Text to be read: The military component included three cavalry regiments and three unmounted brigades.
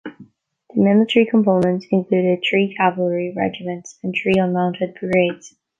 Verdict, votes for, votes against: rejected, 0, 2